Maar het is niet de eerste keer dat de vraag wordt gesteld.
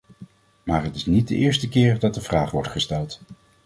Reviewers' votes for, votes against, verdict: 2, 0, accepted